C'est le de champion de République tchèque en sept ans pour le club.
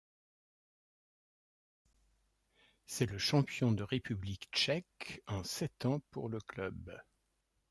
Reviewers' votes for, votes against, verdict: 1, 2, rejected